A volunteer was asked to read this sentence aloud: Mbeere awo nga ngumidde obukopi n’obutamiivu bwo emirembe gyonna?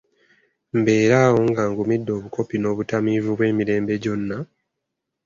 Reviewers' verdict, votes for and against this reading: accepted, 2, 1